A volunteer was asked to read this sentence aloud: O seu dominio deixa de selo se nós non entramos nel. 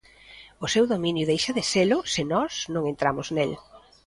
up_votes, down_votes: 2, 0